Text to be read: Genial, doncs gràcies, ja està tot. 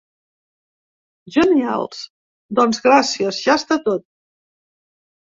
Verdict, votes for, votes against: rejected, 1, 3